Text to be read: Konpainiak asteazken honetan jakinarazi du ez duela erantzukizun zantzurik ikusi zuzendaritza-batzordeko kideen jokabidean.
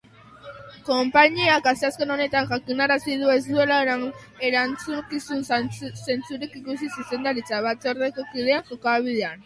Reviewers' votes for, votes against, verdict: 1, 2, rejected